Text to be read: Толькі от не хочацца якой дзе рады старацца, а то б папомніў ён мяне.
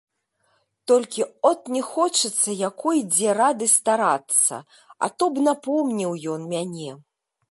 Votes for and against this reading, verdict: 1, 2, rejected